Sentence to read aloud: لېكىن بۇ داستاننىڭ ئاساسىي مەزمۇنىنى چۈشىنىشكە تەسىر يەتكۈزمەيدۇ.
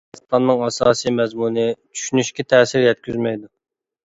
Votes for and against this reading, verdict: 0, 2, rejected